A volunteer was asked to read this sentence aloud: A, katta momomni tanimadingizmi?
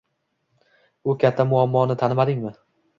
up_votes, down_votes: 1, 2